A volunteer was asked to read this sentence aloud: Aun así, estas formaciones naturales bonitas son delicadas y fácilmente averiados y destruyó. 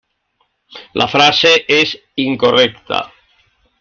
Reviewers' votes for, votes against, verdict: 0, 2, rejected